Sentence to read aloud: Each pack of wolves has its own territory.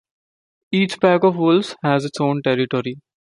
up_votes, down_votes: 1, 2